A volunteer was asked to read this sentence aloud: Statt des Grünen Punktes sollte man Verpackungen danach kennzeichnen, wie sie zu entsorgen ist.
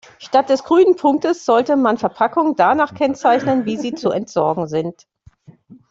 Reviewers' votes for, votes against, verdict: 0, 2, rejected